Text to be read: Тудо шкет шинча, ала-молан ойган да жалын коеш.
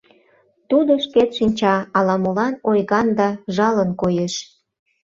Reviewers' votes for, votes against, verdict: 2, 0, accepted